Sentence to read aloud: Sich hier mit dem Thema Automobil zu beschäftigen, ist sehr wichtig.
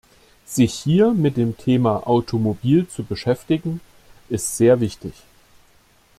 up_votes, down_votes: 2, 0